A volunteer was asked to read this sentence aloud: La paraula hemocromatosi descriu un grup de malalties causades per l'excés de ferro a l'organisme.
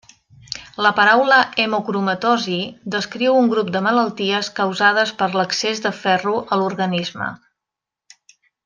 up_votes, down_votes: 3, 0